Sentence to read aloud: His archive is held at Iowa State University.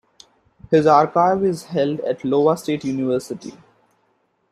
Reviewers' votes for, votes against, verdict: 1, 2, rejected